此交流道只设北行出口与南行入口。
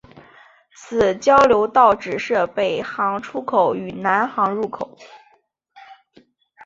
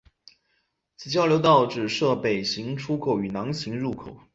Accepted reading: first